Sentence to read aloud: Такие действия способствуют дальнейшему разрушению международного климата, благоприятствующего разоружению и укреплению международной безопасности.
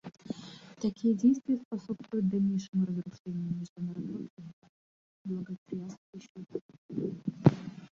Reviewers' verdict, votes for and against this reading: rejected, 0, 2